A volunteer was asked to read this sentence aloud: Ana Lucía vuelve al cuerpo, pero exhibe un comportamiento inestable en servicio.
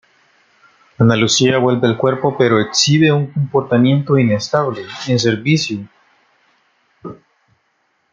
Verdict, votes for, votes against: accepted, 2, 0